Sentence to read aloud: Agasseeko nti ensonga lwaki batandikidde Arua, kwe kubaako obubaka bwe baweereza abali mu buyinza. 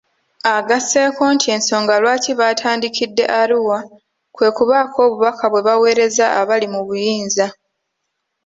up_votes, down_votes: 2, 1